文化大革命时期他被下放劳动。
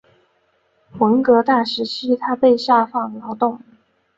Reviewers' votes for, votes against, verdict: 0, 2, rejected